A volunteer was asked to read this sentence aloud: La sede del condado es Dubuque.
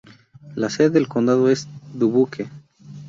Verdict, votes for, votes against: accepted, 8, 0